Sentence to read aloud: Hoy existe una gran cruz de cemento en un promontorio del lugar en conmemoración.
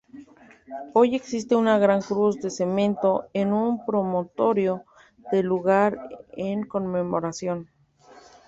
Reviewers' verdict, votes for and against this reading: rejected, 1, 2